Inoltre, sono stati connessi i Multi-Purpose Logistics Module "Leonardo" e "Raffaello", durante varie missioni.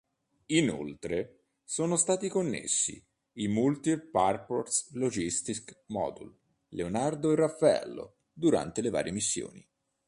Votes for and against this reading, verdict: 1, 2, rejected